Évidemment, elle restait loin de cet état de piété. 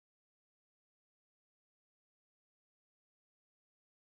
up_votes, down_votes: 0, 2